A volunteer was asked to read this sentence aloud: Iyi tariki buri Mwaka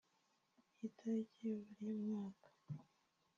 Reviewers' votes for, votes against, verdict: 1, 2, rejected